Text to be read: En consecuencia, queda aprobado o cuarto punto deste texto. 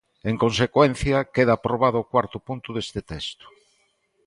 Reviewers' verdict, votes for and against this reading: accepted, 2, 0